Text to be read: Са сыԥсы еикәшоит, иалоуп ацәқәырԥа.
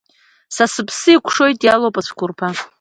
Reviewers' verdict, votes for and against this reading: accepted, 2, 0